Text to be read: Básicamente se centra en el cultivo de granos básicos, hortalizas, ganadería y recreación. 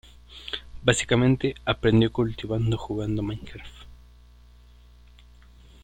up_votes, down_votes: 0, 2